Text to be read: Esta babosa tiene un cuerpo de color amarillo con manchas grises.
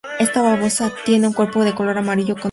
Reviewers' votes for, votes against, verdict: 0, 2, rejected